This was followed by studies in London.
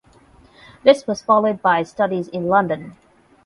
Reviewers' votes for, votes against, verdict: 12, 0, accepted